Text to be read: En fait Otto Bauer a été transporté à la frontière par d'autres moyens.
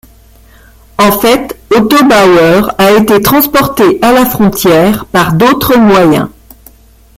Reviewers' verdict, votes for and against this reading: rejected, 1, 2